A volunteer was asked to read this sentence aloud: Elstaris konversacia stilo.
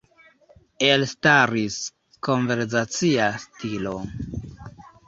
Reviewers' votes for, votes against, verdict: 1, 2, rejected